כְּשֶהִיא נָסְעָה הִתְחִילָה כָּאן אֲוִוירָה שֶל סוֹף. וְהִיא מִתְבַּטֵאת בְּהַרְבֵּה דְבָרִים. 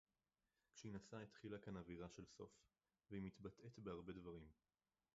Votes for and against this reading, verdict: 0, 2, rejected